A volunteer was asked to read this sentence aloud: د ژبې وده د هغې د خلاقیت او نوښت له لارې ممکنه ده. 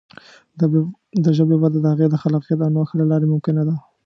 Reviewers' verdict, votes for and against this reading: rejected, 1, 2